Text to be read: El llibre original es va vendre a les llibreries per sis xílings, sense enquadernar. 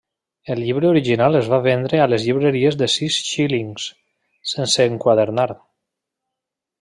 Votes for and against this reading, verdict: 0, 2, rejected